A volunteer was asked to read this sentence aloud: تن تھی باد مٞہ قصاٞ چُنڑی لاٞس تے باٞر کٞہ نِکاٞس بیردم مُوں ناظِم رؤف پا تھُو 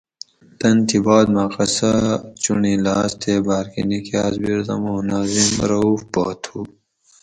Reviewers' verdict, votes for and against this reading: rejected, 2, 2